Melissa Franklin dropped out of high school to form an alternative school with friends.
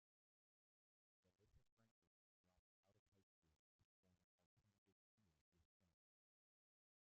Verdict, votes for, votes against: rejected, 0, 2